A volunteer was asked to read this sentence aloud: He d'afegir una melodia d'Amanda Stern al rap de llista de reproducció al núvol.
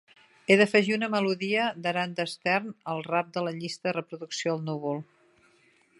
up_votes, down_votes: 0, 2